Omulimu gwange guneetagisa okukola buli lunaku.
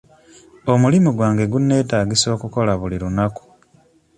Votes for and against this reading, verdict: 2, 0, accepted